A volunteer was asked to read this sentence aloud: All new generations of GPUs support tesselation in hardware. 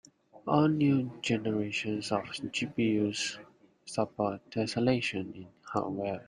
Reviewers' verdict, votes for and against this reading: accepted, 2, 0